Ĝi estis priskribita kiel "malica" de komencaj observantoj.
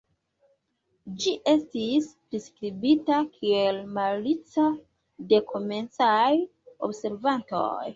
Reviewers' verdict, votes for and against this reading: accepted, 2, 1